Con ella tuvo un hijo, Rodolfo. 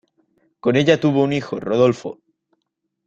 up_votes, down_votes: 2, 0